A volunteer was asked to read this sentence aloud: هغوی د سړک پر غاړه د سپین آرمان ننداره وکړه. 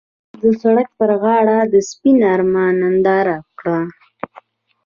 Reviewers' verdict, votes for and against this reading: rejected, 1, 2